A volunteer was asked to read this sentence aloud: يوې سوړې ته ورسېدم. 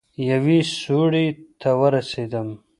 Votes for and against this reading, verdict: 0, 2, rejected